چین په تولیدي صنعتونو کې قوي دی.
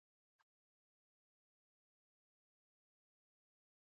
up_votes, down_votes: 0, 2